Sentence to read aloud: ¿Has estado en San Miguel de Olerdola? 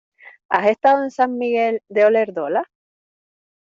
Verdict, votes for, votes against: accepted, 2, 0